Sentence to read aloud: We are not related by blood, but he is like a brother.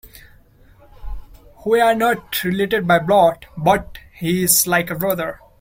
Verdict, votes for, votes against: accepted, 2, 1